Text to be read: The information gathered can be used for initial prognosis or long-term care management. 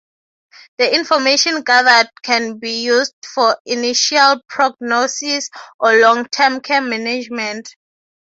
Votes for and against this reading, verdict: 3, 0, accepted